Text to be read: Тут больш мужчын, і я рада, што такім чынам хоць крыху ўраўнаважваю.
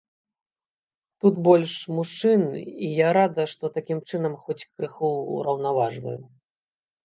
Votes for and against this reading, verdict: 2, 0, accepted